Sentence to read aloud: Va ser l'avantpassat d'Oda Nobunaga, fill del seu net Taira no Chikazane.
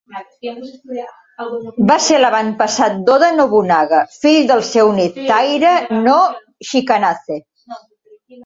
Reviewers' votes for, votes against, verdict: 2, 1, accepted